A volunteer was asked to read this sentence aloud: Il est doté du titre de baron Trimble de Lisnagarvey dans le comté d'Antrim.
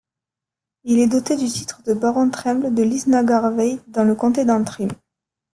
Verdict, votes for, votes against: rejected, 1, 2